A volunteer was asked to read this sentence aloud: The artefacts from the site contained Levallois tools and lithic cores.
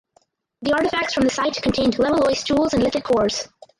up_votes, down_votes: 0, 4